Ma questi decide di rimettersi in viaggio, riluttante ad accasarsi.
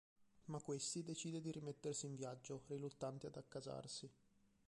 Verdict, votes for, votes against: rejected, 0, 3